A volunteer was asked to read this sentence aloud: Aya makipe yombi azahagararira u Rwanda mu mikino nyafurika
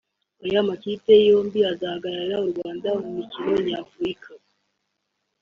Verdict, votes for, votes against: accepted, 2, 1